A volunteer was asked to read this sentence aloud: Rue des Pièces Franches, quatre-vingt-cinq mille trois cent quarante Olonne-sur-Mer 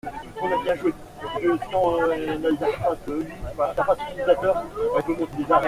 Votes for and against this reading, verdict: 0, 2, rejected